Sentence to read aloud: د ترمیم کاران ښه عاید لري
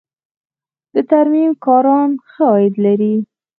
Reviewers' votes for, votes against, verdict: 4, 2, accepted